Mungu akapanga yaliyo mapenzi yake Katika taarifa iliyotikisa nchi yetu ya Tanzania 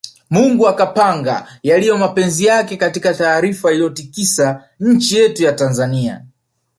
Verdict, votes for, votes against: accepted, 3, 0